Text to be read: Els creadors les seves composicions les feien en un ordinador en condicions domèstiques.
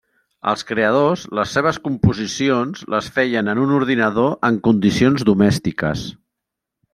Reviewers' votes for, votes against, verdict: 2, 0, accepted